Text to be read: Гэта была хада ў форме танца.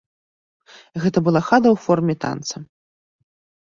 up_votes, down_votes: 0, 2